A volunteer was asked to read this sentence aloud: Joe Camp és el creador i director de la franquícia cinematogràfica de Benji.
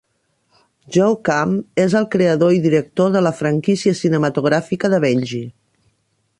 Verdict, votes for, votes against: accepted, 2, 0